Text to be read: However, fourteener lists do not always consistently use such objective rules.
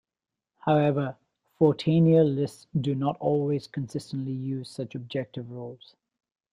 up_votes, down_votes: 0, 2